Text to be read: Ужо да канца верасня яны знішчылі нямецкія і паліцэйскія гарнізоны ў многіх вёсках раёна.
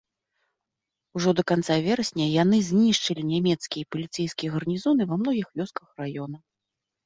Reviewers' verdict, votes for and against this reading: rejected, 0, 2